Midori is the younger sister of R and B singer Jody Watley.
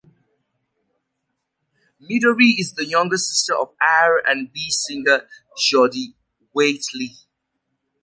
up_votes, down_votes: 0, 2